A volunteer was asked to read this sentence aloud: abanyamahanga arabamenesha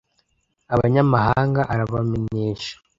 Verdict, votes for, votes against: rejected, 0, 2